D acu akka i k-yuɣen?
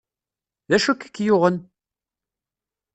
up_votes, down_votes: 1, 2